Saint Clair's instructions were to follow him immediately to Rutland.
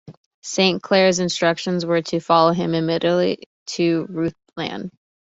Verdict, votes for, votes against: rejected, 0, 2